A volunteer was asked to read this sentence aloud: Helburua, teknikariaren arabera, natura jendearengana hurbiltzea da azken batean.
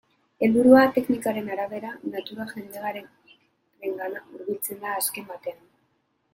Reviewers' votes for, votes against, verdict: 0, 2, rejected